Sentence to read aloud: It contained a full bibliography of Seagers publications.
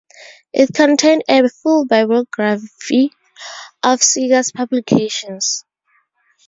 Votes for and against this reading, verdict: 0, 2, rejected